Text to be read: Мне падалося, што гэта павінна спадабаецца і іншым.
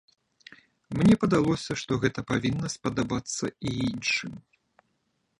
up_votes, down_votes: 0, 2